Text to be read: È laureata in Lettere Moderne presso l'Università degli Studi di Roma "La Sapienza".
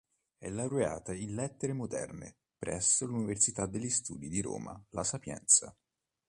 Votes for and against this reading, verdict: 2, 0, accepted